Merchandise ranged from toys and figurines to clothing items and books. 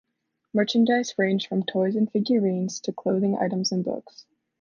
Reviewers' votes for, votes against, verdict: 2, 0, accepted